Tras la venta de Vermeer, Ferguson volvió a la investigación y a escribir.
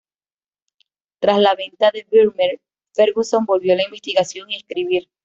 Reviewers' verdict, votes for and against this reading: rejected, 1, 2